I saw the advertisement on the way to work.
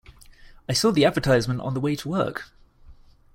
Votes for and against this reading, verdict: 2, 0, accepted